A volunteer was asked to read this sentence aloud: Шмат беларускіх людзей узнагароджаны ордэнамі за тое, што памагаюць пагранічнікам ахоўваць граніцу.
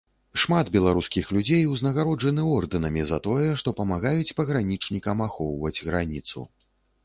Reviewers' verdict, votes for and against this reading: accepted, 2, 0